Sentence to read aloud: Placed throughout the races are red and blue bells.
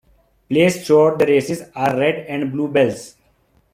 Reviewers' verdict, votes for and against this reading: accepted, 2, 0